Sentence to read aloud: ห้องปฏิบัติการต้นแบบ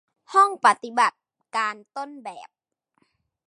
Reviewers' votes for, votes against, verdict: 2, 0, accepted